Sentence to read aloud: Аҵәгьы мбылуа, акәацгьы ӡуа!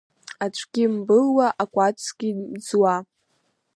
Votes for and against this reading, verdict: 1, 2, rejected